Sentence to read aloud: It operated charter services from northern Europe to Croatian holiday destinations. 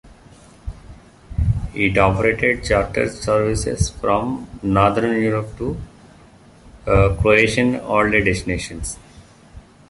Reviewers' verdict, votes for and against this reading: rejected, 1, 2